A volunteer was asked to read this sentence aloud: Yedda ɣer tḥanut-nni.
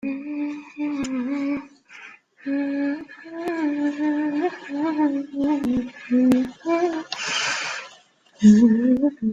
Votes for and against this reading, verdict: 1, 2, rejected